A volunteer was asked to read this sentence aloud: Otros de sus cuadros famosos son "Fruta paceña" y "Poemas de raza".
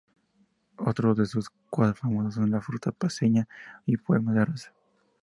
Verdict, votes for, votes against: rejected, 2, 2